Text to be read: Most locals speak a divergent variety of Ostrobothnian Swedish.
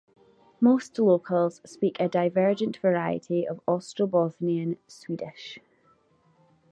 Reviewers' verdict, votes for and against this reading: accepted, 2, 0